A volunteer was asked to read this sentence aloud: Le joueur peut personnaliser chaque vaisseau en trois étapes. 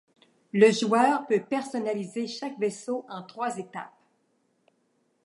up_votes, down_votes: 2, 0